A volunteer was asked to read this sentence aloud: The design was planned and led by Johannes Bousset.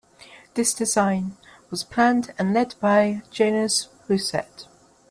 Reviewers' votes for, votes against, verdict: 0, 2, rejected